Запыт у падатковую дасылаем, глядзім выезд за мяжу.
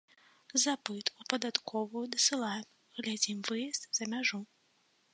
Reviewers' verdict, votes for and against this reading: accepted, 2, 0